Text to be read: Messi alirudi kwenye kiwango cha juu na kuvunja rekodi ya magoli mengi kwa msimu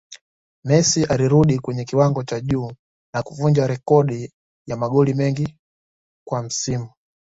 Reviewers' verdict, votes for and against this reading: accepted, 2, 1